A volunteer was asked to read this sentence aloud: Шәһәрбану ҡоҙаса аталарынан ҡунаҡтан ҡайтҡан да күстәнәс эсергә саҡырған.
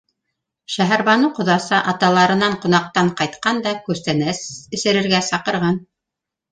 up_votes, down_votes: 1, 2